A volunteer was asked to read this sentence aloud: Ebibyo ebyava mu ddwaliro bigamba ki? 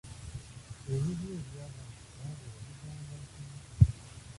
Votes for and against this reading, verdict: 0, 2, rejected